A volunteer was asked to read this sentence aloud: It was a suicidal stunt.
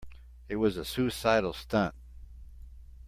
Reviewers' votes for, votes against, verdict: 2, 0, accepted